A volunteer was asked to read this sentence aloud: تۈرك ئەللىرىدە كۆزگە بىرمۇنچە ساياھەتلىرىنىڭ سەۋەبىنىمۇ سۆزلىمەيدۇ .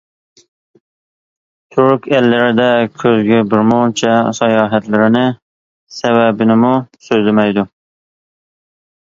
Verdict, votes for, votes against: accepted, 2, 0